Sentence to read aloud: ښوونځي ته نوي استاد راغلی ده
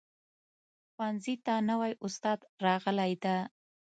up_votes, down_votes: 2, 0